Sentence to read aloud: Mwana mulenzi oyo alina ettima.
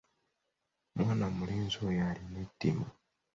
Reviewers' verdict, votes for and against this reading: accepted, 2, 0